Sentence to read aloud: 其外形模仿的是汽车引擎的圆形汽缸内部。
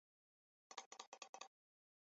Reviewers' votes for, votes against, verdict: 1, 2, rejected